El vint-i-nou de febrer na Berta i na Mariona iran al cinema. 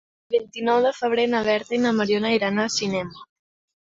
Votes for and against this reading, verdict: 1, 2, rejected